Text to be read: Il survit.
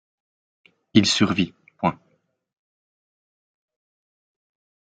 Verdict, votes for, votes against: rejected, 0, 2